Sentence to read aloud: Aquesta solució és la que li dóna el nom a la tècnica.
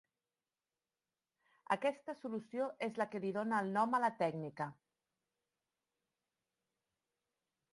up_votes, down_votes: 2, 0